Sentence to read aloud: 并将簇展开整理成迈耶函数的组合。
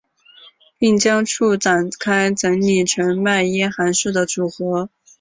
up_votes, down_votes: 0, 2